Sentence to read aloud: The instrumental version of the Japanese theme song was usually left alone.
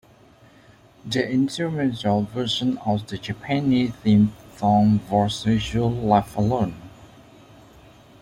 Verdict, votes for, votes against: accepted, 2, 0